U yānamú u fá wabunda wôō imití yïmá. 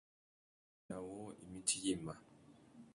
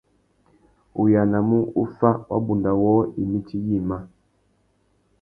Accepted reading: second